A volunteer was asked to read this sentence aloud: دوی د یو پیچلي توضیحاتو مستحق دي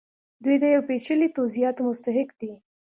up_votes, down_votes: 2, 0